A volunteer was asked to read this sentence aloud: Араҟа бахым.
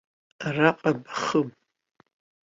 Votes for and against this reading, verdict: 1, 2, rejected